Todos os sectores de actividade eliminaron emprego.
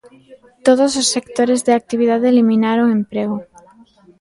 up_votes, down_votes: 1, 2